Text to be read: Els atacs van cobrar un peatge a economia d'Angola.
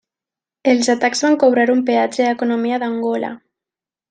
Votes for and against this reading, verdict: 2, 0, accepted